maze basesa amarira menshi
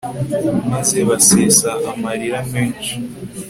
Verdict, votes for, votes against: accepted, 2, 0